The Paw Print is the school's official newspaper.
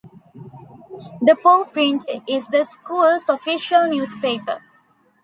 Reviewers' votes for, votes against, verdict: 2, 0, accepted